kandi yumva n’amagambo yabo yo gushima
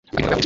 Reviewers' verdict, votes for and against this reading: rejected, 0, 2